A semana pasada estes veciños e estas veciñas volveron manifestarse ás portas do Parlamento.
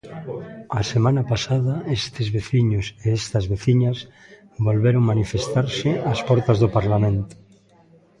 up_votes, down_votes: 1, 2